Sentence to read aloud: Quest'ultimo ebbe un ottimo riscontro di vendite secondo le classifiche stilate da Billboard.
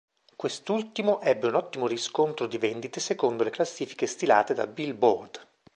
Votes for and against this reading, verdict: 3, 0, accepted